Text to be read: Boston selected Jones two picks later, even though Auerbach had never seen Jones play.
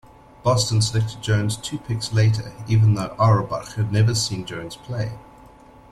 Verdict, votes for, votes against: accepted, 2, 0